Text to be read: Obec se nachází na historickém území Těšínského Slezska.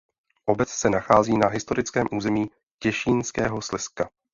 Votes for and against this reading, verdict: 2, 0, accepted